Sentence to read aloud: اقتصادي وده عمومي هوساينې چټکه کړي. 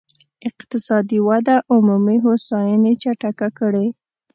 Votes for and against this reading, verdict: 2, 0, accepted